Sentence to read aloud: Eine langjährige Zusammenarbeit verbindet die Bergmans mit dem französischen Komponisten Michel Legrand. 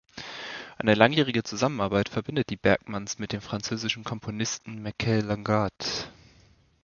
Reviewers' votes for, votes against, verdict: 2, 1, accepted